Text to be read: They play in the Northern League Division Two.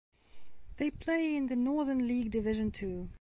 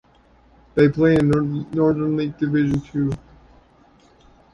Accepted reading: first